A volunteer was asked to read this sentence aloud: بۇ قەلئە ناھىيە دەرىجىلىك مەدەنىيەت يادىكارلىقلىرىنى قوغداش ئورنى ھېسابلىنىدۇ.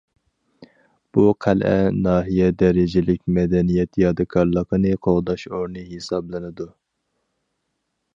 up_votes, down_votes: 0, 4